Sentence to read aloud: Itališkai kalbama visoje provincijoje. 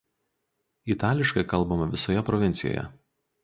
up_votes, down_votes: 2, 0